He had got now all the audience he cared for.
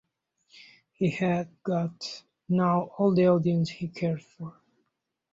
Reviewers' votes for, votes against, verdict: 2, 0, accepted